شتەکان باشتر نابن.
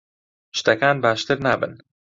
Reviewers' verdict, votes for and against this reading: accepted, 2, 0